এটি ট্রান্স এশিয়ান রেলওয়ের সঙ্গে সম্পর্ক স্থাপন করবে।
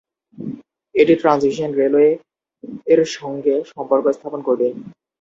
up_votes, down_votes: 0, 2